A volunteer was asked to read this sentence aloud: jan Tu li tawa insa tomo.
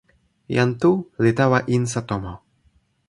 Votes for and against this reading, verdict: 2, 0, accepted